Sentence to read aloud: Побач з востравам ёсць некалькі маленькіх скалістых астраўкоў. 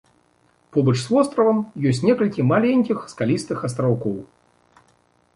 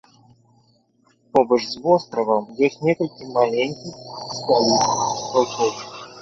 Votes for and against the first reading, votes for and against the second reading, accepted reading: 3, 0, 0, 2, first